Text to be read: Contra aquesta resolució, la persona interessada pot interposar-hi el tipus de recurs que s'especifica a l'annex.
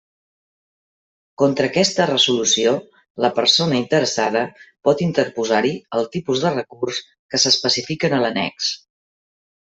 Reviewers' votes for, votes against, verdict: 0, 2, rejected